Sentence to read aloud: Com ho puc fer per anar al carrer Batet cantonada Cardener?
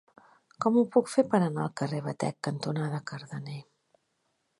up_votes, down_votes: 0, 2